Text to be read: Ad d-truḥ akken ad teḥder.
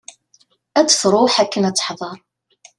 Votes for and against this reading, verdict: 2, 0, accepted